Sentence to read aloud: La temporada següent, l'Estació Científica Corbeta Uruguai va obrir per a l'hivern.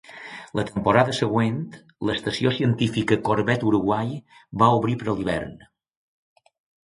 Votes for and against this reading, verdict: 0, 2, rejected